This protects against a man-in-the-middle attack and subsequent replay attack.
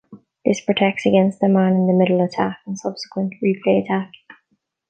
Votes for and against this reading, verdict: 1, 2, rejected